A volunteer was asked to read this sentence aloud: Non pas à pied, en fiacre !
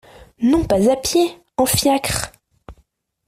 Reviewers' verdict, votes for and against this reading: accepted, 2, 0